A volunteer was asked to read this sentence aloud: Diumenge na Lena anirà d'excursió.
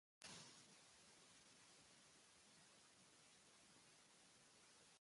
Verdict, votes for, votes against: rejected, 1, 2